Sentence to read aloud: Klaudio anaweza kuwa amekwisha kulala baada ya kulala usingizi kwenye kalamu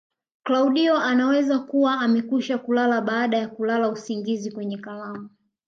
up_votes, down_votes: 2, 0